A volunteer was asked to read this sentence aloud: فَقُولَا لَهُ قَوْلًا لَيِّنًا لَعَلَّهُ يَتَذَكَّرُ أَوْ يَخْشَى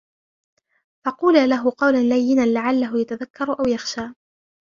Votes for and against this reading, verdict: 2, 0, accepted